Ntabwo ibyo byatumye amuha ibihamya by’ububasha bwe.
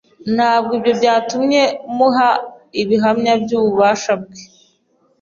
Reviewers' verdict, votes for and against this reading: rejected, 1, 2